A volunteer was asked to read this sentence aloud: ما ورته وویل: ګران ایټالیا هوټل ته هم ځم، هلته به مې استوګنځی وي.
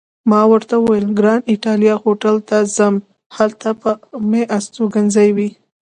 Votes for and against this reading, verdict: 2, 0, accepted